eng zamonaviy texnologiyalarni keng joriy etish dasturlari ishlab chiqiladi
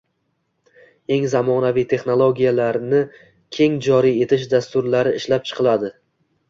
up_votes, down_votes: 2, 0